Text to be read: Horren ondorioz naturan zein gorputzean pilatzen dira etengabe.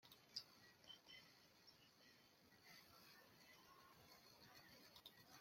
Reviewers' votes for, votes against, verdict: 0, 2, rejected